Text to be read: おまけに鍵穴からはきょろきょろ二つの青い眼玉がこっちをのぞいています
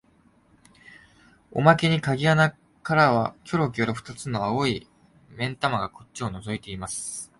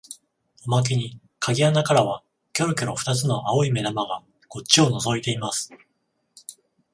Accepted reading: second